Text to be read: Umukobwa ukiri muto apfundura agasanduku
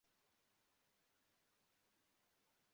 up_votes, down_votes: 0, 2